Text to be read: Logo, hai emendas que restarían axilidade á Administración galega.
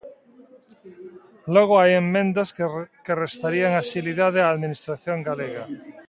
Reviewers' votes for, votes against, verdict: 0, 2, rejected